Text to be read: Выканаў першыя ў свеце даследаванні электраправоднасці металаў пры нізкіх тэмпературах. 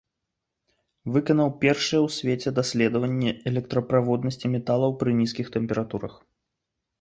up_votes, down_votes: 1, 2